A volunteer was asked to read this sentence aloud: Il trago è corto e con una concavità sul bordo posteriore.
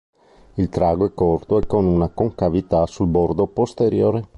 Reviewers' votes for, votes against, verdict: 2, 0, accepted